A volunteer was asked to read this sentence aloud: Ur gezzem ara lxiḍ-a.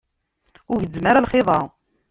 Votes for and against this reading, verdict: 1, 2, rejected